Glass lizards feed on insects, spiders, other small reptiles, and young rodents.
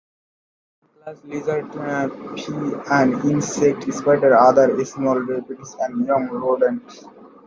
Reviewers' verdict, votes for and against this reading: rejected, 0, 2